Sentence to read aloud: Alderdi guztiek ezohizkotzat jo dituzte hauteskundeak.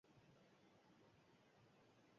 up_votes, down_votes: 2, 4